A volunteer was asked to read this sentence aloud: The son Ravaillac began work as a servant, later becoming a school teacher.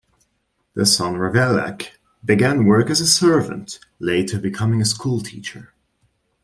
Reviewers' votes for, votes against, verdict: 2, 0, accepted